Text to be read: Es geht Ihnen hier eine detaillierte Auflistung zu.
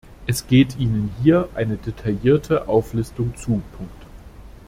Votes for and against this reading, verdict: 0, 2, rejected